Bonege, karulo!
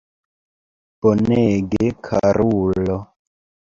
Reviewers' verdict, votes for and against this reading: accepted, 2, 1